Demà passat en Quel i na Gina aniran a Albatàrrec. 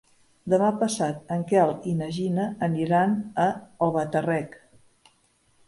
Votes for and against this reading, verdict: 1, 2, rejected